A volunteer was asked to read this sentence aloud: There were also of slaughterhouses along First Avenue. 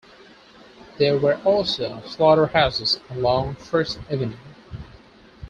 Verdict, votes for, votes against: accepted, 4, 2